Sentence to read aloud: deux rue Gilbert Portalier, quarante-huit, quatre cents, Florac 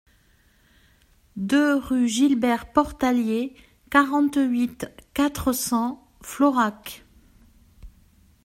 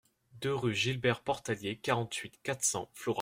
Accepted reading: first